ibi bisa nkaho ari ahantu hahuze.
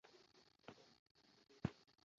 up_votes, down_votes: 0, 2